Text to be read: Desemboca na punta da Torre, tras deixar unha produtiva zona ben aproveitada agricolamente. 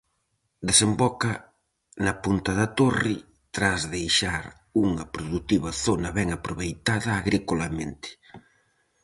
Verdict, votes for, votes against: accepted, 4, 0